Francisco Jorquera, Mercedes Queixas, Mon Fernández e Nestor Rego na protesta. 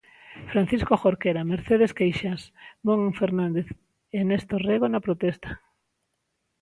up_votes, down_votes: 2, 1